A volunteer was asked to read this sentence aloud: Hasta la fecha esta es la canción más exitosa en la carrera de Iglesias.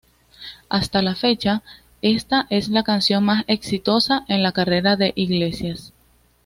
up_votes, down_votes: 2, 0